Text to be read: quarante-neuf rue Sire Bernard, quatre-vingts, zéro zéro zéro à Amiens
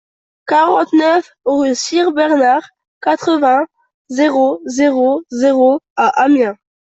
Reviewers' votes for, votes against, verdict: 2, 0, accepted